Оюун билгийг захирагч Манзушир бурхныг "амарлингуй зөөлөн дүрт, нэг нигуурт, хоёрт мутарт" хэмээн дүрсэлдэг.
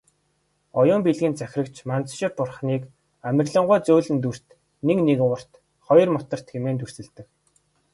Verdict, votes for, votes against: accepted, 2, 0